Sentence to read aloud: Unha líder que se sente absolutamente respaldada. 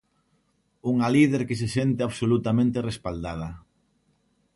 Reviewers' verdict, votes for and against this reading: accepted, 2, 0